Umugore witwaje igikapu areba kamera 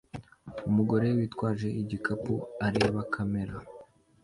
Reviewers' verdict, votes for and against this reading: accepted, 2, 0